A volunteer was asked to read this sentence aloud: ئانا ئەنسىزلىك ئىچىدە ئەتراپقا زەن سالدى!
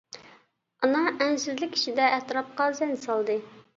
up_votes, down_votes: 2, 0